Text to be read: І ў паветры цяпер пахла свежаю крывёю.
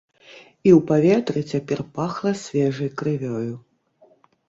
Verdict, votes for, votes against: rejected, 1, 2